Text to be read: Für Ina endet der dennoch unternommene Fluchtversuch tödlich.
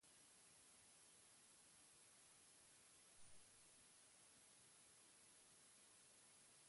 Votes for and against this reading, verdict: 0, 4, rejected